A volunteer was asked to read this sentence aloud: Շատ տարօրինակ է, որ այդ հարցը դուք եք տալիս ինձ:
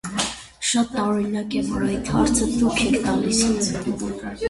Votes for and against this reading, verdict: 0, 2, rejected